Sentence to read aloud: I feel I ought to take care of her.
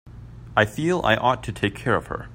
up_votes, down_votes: 2, 0